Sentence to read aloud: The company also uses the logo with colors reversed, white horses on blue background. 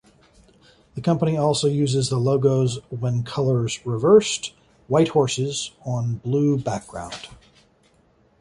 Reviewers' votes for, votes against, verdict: 0, 2, rejected